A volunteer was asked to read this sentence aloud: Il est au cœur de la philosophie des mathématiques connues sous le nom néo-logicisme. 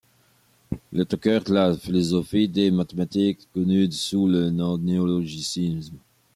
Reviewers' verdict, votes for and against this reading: accepted, 2, 1